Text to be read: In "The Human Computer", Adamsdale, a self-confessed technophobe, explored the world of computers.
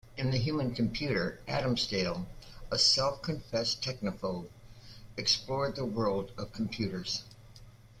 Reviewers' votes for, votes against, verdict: 2, 0, accepted